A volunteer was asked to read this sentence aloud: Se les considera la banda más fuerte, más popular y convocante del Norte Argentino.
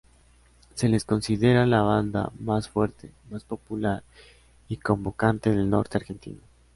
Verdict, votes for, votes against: accepted, 2, 0